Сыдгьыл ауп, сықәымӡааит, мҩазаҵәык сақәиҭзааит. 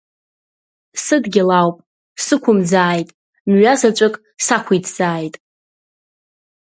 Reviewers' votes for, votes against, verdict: 2, 0, accepted